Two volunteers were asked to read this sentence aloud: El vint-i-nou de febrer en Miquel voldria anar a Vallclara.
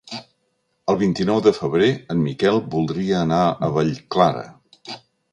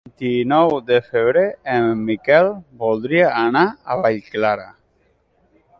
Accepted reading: first